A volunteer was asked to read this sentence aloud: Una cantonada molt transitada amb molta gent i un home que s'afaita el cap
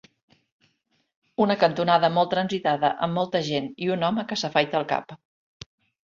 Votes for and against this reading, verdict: 2, 0, accepted